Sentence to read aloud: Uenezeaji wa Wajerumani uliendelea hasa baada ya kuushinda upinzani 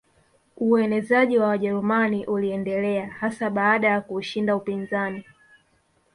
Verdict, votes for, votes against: rejected, 0, 2